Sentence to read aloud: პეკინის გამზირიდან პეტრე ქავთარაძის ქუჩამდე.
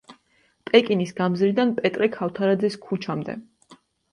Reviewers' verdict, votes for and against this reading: accepted, 2, 1